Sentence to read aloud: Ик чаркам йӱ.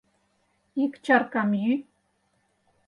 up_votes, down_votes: 4, 0